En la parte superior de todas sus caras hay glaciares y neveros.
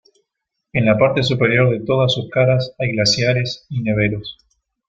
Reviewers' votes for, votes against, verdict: 1, 2, rejected